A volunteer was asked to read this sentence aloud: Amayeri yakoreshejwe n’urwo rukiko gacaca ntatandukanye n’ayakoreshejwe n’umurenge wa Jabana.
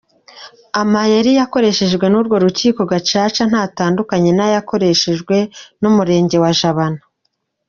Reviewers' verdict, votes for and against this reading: accepted, 2, 0